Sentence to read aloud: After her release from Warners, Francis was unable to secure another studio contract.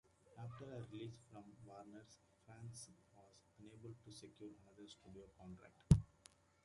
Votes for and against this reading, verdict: 0, 2, rejected